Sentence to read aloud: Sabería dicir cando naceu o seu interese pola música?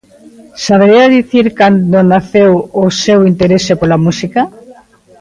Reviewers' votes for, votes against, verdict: 2, 0, accepted